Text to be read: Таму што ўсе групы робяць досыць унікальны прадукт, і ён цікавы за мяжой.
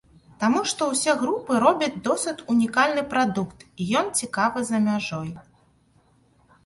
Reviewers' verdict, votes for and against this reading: rejected, 1, 2